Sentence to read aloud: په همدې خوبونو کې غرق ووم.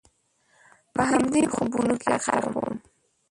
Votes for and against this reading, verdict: 0, 2, rejected